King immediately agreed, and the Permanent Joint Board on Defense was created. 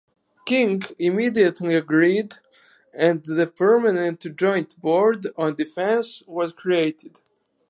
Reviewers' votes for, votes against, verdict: 4, 0, accepted